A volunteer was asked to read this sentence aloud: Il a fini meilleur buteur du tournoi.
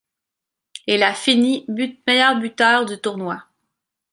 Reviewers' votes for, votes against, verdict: 1, 2, rejected